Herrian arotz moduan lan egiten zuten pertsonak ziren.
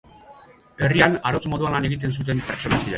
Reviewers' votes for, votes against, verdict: 0, 2, rejected